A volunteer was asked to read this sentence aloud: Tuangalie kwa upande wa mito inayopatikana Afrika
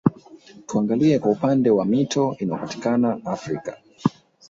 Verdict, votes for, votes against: rejected, 3, 4